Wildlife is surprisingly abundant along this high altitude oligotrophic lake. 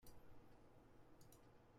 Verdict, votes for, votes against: rejected, 0, 2